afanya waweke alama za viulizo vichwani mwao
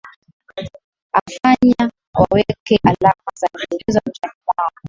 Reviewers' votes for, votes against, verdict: 4, 0, accepted